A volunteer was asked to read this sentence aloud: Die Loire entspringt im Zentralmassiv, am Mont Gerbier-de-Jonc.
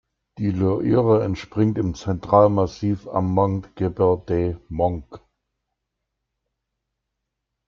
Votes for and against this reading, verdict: 0, 2, rejected